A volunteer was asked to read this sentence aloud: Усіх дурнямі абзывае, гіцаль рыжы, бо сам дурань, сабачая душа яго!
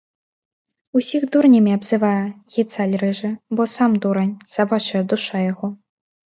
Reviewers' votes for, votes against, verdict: 2, 0, accepted